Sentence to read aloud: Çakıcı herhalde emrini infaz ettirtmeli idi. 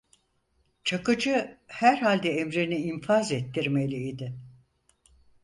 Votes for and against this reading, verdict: 0, 4, rejected